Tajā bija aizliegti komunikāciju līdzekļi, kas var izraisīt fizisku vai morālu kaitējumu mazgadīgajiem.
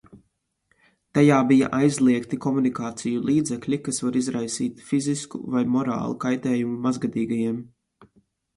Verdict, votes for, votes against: accepted, 2, 0